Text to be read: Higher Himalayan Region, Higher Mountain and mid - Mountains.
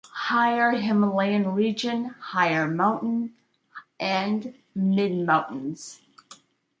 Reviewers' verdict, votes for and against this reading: accepted, 2, 0